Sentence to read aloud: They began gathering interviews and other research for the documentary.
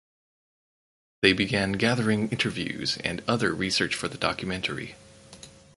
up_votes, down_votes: 4, 0